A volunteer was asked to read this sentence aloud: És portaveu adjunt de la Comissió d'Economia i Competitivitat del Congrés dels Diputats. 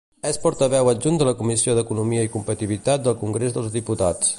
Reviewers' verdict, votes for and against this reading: rejected, 0, 2